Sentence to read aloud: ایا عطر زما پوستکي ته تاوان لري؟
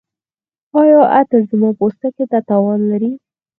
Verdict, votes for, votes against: accepted, 4, 2